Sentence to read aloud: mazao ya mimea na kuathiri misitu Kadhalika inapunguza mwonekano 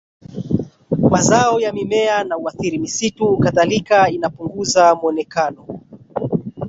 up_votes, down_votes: 1, 2